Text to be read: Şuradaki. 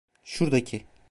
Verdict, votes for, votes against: rejected, 1, 2